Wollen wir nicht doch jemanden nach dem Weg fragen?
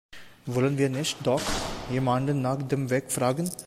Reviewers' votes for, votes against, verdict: 1, 2, rejected